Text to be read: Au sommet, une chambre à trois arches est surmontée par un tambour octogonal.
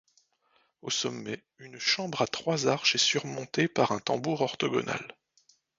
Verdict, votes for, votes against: rejected, 1, 2